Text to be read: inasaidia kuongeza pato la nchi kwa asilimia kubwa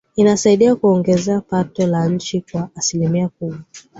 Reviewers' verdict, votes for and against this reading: accepted, 7, 1